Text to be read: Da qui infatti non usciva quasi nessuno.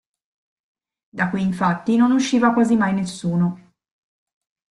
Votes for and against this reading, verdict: 1, 2, rejected